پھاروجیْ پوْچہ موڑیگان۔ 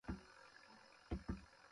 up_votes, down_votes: 0, 2